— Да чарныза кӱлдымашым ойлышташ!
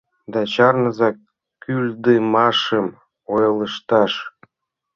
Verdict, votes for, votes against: accepted, 2, 0